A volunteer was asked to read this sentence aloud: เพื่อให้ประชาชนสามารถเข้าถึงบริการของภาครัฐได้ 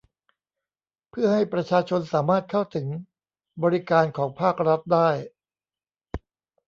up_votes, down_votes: 0, 3